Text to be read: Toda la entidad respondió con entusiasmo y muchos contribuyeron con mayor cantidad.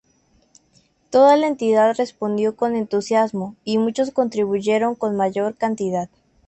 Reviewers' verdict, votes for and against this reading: accepted, 2, 0